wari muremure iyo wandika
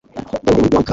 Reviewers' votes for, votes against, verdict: 0, 2, rejected